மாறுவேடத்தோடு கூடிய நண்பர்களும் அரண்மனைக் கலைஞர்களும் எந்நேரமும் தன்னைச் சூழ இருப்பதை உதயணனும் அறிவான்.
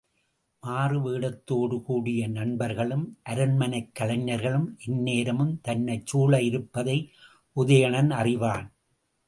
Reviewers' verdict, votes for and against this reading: accepted, 2, 0